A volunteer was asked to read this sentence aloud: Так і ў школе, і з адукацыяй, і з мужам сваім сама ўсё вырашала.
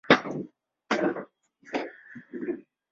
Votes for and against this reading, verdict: 0, 2, rejected